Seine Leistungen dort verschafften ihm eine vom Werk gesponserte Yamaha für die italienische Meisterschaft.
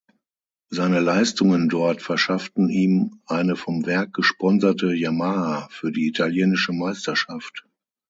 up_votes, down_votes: 6, 0